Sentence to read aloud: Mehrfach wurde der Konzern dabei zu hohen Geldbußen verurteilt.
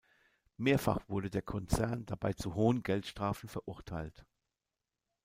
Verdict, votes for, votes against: rejected, 0, 2